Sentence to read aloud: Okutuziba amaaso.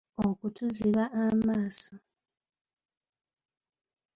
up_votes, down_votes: 2, 0